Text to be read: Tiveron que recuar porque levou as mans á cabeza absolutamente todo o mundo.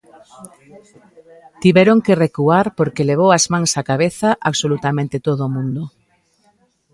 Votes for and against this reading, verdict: 2, 0, accepted